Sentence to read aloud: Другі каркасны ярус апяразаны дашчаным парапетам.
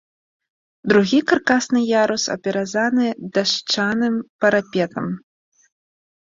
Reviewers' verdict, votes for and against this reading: rejected, 1, 2